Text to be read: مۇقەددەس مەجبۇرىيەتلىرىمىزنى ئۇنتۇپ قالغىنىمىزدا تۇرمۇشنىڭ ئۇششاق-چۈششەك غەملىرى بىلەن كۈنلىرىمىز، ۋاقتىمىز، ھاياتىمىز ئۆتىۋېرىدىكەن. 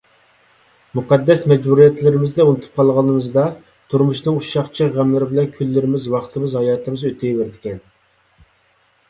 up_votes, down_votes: 2, 0